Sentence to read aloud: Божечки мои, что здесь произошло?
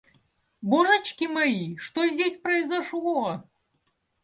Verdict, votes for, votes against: accepted, 2, 0